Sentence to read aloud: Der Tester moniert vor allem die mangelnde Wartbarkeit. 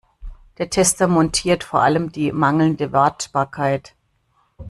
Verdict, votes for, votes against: rejected, 0, 2